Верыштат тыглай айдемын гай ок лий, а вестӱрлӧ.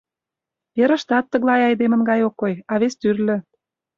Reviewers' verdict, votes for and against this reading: rejected, 0, 2